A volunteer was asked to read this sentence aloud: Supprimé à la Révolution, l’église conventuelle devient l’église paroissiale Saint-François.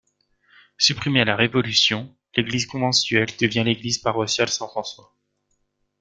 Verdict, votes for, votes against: rejected, 0, 2